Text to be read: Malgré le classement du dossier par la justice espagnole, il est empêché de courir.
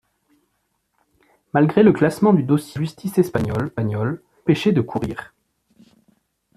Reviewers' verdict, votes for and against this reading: rejected, 1, 2